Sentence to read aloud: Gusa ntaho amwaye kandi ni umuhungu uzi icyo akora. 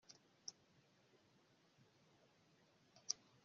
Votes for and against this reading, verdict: 1, 2, rejected